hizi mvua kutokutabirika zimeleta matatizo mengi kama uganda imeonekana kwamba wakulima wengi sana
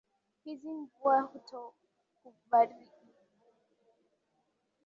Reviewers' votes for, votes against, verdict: 1, 5, rejected